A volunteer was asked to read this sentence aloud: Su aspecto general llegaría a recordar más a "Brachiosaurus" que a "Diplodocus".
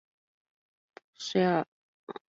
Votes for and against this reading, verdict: 0, 2, rejected